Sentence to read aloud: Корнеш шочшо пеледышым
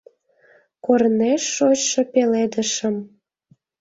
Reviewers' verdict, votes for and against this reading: accepted, 2, 0